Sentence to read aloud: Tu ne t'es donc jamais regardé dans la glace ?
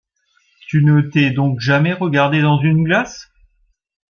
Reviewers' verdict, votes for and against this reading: rejected, 1, 2